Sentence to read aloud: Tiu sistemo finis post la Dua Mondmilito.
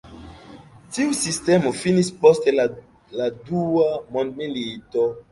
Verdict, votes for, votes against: rejected, 0, 2